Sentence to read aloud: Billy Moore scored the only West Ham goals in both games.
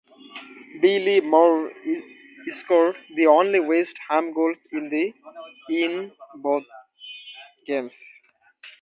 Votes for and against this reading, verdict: 0, 2, rejected